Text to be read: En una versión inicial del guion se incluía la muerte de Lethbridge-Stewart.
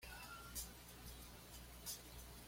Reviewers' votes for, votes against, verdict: 1, 2, rejected